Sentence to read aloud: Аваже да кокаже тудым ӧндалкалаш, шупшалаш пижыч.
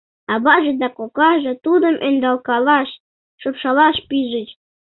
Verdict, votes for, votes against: accepted, 2, 0